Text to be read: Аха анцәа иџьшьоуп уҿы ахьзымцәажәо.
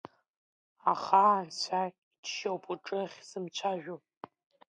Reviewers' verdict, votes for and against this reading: accepted, 2, 0